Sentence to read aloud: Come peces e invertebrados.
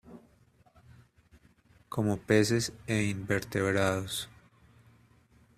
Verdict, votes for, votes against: rejected, 1, 2